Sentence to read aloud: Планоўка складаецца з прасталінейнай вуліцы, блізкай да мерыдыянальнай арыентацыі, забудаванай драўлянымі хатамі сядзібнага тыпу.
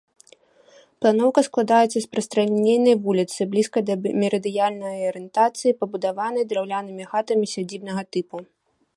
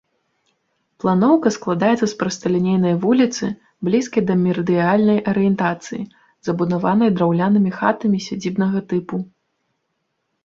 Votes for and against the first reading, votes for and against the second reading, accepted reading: 1, 2, 2, 0, second